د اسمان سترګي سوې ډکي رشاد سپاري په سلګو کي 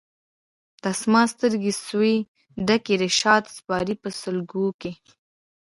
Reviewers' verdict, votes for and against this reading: rejected, 0, 2